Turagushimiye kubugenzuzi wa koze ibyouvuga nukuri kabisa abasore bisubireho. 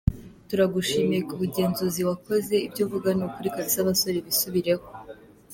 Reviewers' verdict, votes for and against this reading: accepted, 2, 0